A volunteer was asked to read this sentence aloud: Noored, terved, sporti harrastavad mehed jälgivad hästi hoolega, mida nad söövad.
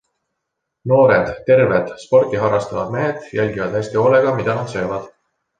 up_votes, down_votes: 2, 0